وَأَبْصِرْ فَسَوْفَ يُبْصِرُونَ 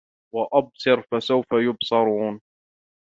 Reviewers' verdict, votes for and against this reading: rejected, 1, 2